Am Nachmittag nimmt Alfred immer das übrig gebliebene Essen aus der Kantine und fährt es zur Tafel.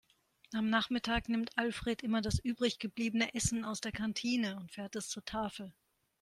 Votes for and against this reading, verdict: 4, 0, accepted